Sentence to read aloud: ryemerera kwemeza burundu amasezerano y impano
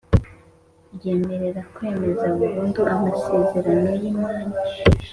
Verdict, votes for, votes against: accepted, 2, 0